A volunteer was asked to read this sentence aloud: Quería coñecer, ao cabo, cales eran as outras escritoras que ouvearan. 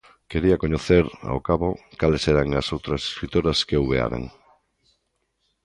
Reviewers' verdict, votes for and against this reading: accepted, 2, 0